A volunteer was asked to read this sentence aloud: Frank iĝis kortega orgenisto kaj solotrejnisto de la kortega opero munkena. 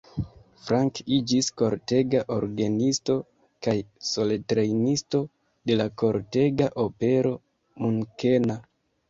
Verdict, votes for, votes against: rejected, 2, 3